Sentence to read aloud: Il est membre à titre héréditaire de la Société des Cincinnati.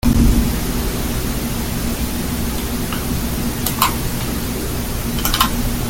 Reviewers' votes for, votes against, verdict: 0, 4, rejected